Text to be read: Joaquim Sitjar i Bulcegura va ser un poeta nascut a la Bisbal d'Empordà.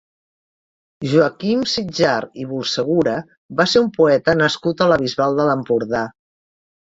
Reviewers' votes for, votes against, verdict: 1, 2, rejected